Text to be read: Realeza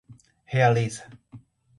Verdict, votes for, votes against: rejected, 0, 2